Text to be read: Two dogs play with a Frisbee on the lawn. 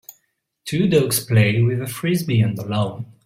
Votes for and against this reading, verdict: 2, 3, rejected